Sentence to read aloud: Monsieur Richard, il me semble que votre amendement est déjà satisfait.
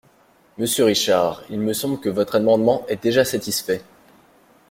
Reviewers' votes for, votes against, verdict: 2, 0, accepted